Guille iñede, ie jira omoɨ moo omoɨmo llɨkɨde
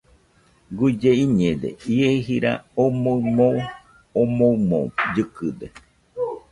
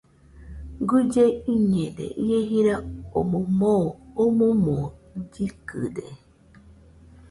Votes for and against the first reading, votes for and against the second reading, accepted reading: 1, 2, 2, 0, second